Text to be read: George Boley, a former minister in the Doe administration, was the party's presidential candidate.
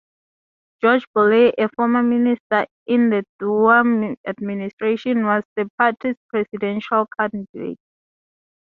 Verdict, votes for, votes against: rejected, 0, 4